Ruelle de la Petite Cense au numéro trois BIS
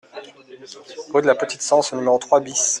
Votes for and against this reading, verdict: 1, 2, rejected